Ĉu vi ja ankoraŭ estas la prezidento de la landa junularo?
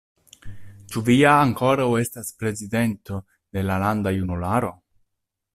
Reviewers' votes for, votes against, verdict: 1, 2, rejected